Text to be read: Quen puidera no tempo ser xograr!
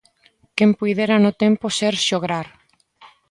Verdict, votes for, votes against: accepted, 2, 0